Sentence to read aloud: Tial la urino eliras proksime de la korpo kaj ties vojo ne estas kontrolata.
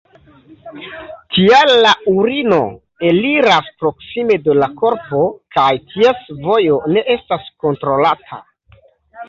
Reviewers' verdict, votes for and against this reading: accepted, 2, 1